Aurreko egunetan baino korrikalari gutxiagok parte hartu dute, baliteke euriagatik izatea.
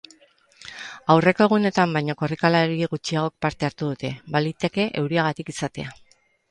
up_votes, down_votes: 6, 0